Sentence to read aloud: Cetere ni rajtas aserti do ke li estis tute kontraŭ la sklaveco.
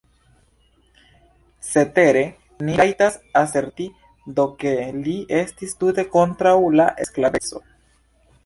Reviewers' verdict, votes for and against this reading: accepted, 2, 1